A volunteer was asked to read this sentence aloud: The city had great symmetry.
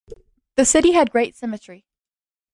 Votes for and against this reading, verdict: 2, 0, accepted